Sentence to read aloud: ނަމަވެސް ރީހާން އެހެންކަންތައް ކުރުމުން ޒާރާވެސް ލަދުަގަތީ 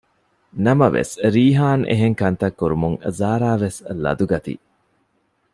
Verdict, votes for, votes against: accepted, 2, 0